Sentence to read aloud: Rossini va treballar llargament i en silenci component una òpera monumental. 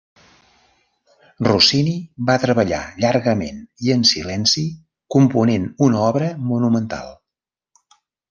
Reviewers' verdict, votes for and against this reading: rejected, 0, 2